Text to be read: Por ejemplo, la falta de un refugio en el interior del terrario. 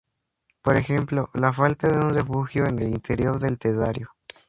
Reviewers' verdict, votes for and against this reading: rejected, 0, 2